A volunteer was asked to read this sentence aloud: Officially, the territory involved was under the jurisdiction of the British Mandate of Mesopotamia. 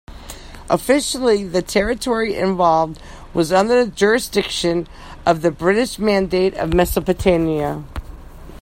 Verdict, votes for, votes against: rejected, 0, 2